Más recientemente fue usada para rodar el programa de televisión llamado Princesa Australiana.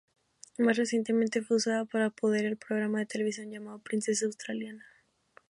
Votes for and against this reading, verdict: 2, 3, rejected